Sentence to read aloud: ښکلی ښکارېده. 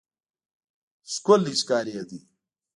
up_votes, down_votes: 0, 2